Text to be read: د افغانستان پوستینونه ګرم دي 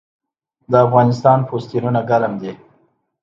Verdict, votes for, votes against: accepted, 2, 0